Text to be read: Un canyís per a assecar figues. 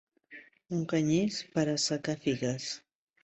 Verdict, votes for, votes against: rejected, 1, 2